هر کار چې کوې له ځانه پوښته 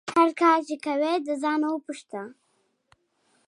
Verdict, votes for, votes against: accepted, 2, 0